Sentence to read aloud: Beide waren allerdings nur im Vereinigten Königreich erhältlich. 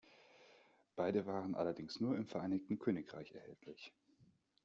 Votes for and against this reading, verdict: 2, 0, accepted